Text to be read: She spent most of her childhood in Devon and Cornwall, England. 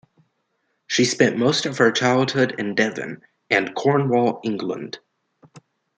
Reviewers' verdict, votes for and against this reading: rejected, 1, 2